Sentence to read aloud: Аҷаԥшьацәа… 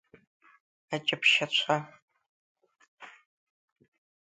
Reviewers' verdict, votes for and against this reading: accepted, 2, 0